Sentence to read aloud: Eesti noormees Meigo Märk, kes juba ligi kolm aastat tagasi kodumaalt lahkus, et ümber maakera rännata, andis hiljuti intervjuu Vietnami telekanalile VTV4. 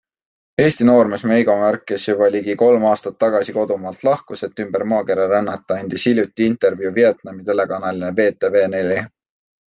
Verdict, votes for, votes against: rejected, 0, 2